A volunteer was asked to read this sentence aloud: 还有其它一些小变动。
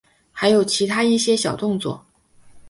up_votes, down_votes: 1, 2